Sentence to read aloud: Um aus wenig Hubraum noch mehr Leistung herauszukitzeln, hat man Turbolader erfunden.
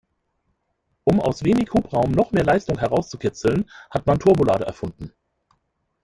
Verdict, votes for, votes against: rejected, 1, 2